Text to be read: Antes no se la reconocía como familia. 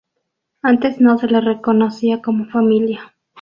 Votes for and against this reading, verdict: 0, 2, rejected